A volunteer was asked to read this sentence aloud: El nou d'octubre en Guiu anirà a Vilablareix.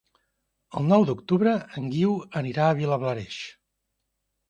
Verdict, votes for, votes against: accepted, 3, 0